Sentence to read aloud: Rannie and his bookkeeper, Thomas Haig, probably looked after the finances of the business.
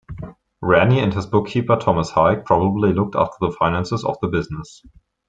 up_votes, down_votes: 2, 0